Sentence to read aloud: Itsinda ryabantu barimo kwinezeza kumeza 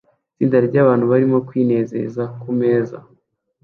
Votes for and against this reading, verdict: 2, 0, accepted